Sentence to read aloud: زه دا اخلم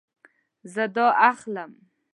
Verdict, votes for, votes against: accepted, 2, 0